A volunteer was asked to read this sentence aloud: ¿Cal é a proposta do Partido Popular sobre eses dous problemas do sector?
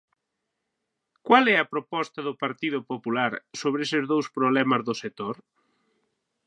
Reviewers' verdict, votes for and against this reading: rejected, 3, 6